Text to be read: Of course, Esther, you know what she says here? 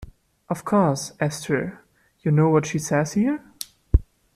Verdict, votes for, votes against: accepted, 2, 0